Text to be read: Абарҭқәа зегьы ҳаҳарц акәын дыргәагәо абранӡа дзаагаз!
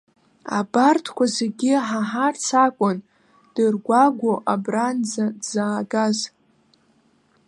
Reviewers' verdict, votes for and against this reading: rejected, 0, 2